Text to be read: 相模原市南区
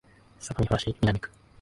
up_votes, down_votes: 1, 2